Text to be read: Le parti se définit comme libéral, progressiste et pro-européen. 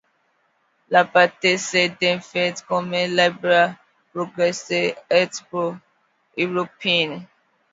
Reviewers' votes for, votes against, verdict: 0, 3, rejected